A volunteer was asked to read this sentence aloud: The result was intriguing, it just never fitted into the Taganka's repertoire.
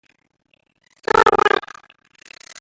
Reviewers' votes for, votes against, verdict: 0, 2, rejected